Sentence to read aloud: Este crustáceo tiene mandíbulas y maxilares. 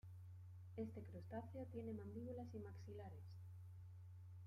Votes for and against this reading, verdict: 2, 1, accepted